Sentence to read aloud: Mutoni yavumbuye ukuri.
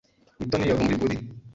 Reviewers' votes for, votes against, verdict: 0, 2, rejected